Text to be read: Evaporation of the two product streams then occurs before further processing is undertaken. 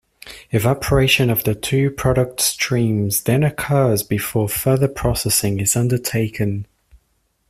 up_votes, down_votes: 2, 0